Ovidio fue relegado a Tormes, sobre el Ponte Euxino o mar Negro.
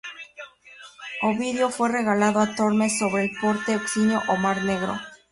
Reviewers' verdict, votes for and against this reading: rejected, 0, 2